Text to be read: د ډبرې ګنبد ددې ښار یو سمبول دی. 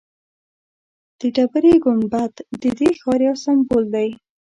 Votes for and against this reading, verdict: 0, 2, rejected